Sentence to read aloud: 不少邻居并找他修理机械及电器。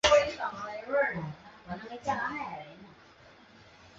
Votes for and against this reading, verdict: 3, 4, rejected